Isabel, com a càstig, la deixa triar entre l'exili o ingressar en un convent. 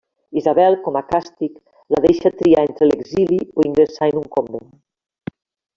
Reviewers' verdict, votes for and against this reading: rejected, 1, 2